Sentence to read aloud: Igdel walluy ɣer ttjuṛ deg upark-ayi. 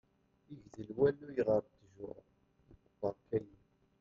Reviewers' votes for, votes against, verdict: 0, 2, rejected